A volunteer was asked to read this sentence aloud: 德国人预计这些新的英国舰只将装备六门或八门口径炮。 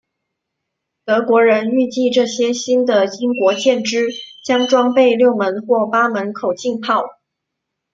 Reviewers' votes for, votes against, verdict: 2, 0, accepted